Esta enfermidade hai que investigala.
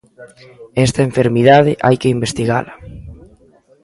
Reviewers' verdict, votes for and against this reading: accepted, 2, 0